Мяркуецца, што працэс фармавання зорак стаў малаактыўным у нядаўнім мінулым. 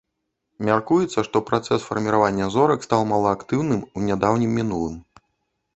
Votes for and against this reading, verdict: 1, 2, rejected